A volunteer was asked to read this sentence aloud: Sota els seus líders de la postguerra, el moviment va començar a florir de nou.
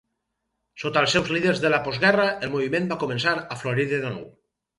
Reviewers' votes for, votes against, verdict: 0, 2, rejected